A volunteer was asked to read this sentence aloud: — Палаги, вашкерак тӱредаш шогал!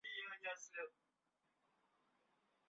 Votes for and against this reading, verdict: 1, 6, rejected